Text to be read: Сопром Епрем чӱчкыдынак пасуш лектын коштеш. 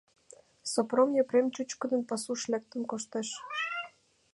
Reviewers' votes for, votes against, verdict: 2, 0, accepted